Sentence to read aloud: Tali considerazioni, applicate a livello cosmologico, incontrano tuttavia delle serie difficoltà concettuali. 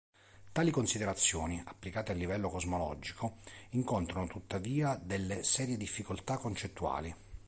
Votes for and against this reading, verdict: 2, 0, accepted